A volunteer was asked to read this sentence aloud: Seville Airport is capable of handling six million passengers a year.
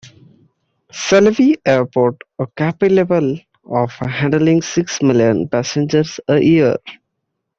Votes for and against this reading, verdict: 0, 2, rejected